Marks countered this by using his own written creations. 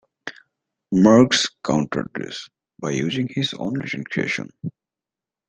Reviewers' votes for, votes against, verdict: 2, 0, accepted